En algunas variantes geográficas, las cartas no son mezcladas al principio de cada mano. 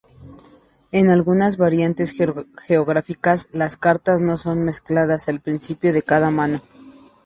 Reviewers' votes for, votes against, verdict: 0, 2, rejected